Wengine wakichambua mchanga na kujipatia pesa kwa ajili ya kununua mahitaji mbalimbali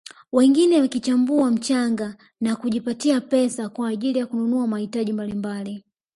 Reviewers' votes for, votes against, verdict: 2, 0, accepted